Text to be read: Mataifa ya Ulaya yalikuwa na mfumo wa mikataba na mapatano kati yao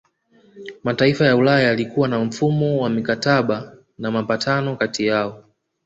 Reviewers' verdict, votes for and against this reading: rejected, 1, 2